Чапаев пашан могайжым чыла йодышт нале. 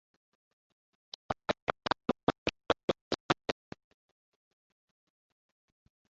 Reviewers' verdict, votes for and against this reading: rejected, 0, 2